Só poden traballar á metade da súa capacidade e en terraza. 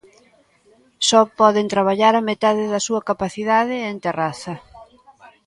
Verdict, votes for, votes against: accepted, 2, 0